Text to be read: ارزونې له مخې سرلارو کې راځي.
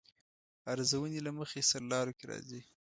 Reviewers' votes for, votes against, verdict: 2, 0, accepted